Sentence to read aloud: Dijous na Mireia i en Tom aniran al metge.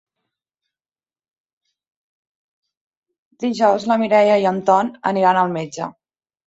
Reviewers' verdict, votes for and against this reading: accepted, 2, 1